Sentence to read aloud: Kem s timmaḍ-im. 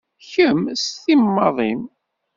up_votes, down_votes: 0, 2